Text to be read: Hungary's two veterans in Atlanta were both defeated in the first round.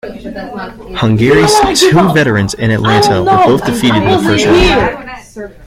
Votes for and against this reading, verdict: 0, 2, rejected